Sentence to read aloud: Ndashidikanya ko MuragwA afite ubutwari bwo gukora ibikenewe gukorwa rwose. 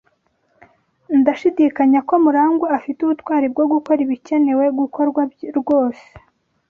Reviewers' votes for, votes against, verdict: 1, 2, rejected